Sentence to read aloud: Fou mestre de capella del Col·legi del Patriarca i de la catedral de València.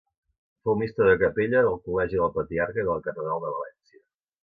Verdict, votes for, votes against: accepted, 2, 0